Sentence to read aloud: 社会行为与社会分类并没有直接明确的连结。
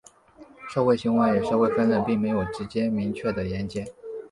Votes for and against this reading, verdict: 1, 2, rejected